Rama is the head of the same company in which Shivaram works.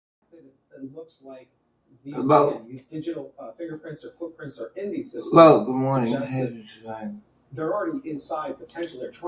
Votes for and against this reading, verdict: 1, 2, rejected